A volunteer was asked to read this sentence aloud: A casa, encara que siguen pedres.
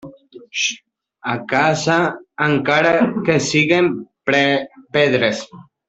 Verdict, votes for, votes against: rejected, 1, 2